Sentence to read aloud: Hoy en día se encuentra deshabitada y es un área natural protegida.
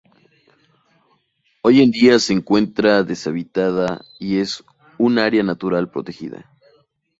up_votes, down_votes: 2, 0